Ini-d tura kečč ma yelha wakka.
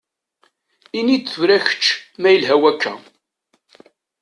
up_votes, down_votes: 2, 0